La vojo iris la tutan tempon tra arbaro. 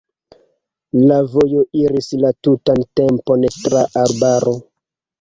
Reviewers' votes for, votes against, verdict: 2, 0, accepted